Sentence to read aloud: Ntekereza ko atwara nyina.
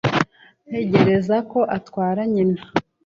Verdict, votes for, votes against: rejected, 0, 2